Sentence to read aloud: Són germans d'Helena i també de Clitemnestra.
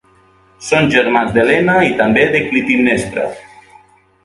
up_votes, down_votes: 1, 2